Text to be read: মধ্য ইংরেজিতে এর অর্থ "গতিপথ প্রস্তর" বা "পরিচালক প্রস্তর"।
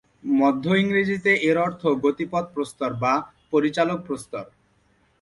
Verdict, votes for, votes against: accepted, 2, 0